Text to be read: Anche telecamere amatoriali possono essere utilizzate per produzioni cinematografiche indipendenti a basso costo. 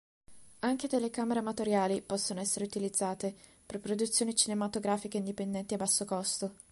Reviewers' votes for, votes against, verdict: 2, 0, accepted